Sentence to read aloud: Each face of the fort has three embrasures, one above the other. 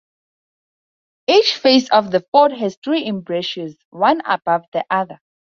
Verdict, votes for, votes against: accepted, 4, 0